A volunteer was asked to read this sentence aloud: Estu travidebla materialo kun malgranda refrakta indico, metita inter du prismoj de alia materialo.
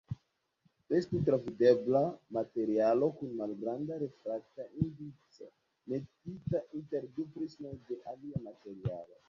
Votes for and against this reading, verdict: 1, 2, rejected